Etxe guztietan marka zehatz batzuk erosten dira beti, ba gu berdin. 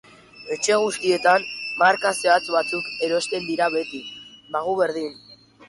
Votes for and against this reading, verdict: 0, 2, rejected